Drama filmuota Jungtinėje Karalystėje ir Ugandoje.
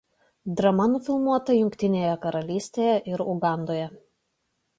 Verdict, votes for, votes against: rejected, 1, 2